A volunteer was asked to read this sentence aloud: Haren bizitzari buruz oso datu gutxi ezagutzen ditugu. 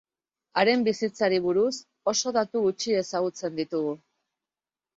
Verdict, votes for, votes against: accepted, 4, 0